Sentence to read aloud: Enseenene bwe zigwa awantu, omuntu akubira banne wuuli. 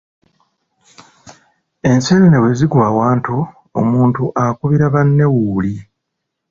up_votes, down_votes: 2, 0